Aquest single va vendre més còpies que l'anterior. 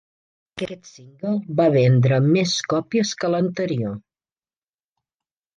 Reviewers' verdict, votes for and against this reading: rejected, 1, 2